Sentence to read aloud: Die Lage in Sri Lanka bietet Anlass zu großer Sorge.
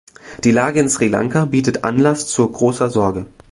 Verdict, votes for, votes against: rejected, 1, 2